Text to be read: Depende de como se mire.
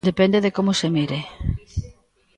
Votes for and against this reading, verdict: 1, 2, rejected